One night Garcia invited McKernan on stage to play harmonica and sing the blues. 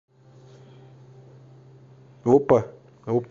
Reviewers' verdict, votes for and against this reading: rejected, 0, 2